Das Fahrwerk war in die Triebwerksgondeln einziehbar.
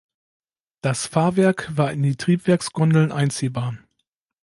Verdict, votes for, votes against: accepted, 2, 0